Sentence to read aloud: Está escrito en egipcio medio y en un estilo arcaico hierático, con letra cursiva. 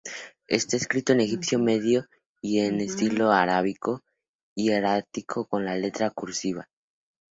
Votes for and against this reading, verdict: 0, 2, rejected